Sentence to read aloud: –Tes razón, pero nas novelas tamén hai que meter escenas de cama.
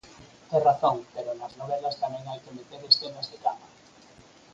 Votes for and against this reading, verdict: 4, 0, accepted